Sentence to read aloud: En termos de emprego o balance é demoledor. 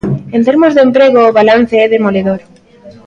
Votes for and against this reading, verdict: 1, 2, rejected